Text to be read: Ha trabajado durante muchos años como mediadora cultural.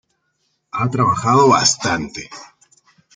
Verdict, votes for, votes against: rejected, 0, 2